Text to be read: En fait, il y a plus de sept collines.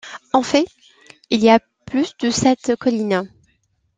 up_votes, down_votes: 2, 1